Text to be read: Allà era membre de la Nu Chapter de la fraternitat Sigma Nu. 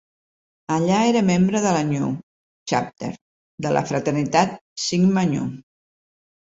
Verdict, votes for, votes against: rejected, 1, 2